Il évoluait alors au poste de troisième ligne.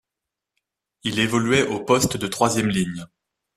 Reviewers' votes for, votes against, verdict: 1, 2, rejected